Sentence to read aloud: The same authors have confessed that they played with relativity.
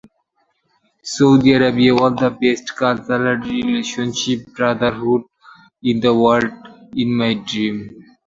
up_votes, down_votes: 0, 2